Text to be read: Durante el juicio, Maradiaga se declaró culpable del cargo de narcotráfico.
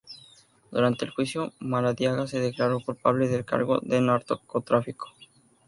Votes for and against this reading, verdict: 0, 2, rejected